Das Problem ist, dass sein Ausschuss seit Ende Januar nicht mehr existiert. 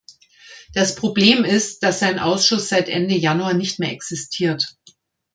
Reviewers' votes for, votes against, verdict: 2, 0, accepted